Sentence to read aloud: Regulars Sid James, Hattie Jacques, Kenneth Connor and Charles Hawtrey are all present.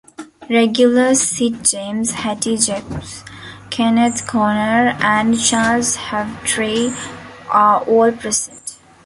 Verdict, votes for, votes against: rejected, 1, 2